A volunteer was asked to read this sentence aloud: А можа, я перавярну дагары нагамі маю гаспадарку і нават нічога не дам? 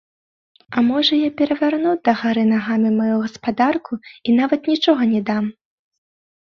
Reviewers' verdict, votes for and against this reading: accepted, 2, 0